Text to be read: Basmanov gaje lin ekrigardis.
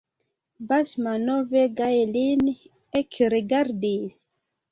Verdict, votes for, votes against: accepted, 2, 0